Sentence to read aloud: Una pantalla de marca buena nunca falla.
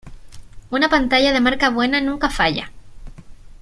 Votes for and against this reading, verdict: 2, 0, accepted